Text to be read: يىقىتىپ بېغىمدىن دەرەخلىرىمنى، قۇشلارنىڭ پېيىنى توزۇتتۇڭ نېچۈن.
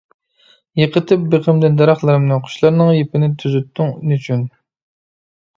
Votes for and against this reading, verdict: 0, 2, rejected